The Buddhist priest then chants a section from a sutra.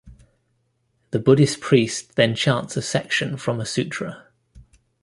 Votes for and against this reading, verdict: 2, 0, accepted